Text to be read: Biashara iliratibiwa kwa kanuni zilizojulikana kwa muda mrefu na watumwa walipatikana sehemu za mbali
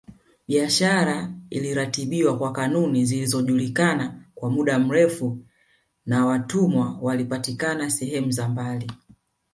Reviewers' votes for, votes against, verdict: 1, 2, rejected